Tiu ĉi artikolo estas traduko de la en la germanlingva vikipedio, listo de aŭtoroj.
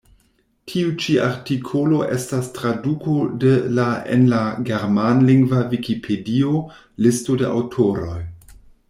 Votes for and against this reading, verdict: 2, 0, accepted